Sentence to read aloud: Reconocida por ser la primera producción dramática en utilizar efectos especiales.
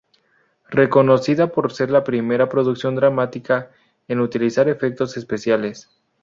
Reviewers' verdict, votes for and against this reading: rejected, 0, 2